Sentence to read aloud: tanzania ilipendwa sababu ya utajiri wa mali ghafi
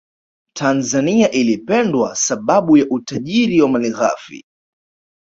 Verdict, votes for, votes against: rejected, 1, 2